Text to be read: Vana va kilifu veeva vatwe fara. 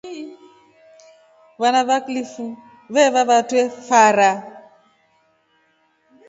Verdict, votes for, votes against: accepted, 2, 0